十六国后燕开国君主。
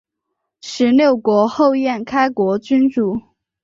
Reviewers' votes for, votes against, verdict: 3, 0, accepted